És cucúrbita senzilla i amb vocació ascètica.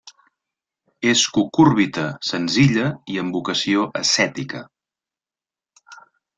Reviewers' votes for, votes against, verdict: 3, 0, accepted